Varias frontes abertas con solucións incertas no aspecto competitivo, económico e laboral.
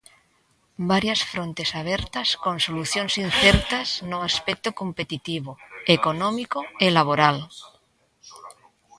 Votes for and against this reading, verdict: 1, 2, rejected